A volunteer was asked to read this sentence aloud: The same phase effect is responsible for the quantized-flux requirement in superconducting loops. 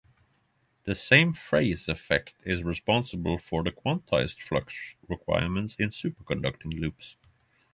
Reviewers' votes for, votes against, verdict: 6, 0, accepted